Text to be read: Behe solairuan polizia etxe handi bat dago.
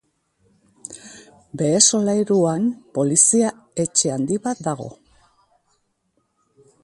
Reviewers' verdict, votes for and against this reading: accepted, 2, 0